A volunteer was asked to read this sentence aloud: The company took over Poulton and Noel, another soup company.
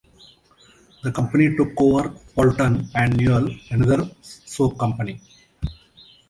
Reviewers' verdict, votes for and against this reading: rejected, 1, 2